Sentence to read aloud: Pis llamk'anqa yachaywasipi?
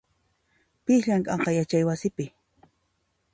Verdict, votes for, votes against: rejected, 1, 2